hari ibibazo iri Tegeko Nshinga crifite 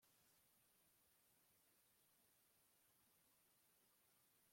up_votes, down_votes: 1, 2